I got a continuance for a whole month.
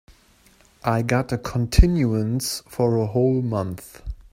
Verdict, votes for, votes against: accepted, 2, 1